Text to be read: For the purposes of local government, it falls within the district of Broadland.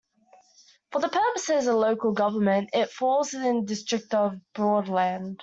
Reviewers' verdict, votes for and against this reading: accepted, 2, 0